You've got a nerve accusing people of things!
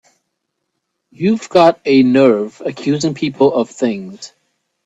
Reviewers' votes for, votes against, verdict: 3, 0, accepted